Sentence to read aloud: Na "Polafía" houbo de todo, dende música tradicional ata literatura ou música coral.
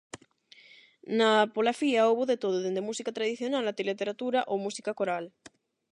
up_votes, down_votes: 8, 0